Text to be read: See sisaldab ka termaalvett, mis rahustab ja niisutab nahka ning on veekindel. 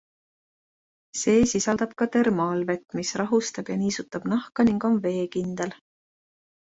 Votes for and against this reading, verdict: 2, 0, accepted